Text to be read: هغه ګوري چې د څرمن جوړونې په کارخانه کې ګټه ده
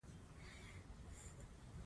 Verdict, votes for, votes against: accepted, 2, 1